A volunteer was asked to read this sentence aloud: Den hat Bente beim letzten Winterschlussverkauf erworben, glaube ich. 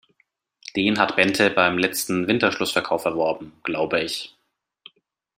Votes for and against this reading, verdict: 2, 0, accepted